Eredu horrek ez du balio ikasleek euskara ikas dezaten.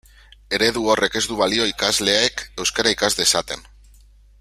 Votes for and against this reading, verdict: 2, 0, accepted